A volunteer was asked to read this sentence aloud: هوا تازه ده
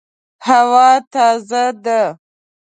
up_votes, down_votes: 2, 0